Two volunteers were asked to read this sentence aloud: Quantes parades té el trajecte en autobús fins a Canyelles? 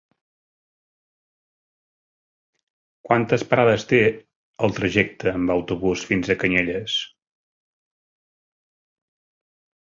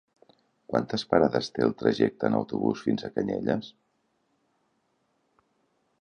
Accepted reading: second